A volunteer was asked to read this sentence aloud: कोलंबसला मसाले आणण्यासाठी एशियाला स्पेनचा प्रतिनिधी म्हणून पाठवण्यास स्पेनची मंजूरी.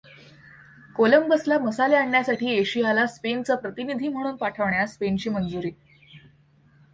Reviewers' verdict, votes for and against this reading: accepted, 2, 0